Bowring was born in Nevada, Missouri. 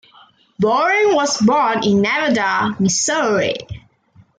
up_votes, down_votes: 2, 0